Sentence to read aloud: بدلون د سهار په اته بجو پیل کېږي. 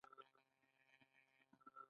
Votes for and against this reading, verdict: 2, 1, accepted